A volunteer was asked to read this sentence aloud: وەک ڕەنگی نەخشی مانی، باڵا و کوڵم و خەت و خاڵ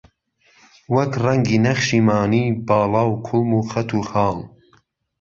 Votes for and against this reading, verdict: 2, 0, accepted